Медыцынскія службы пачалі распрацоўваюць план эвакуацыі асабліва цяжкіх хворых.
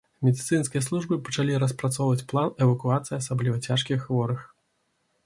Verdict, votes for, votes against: accepted, 2, 0